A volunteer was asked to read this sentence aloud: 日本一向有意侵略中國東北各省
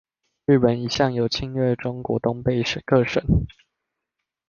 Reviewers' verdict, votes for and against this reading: rejected, 0, 2